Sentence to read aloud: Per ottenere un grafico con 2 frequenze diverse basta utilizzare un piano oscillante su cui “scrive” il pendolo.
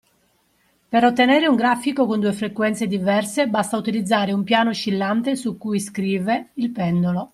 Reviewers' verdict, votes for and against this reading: rejected, 0, 2